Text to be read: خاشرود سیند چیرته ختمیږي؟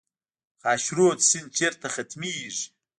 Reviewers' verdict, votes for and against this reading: rejected, 1, 2